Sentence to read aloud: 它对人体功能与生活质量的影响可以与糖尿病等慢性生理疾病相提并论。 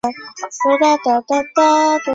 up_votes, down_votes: 0, 2